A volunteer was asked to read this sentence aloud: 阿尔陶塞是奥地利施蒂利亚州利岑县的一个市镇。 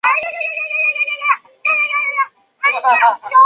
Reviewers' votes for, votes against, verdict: 1, 3, rejected